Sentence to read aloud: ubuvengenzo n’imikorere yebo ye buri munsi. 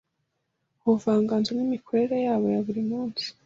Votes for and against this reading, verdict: 0, 2, rejected